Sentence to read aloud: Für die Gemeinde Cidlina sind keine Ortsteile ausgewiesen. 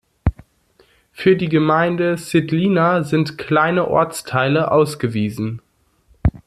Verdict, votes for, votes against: rejected, 1, 2